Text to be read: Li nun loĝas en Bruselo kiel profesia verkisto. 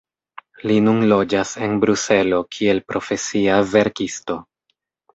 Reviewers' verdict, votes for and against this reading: rejected, 0, 2